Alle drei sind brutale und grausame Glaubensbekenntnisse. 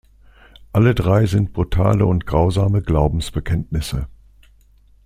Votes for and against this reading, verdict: 2, 0, accepted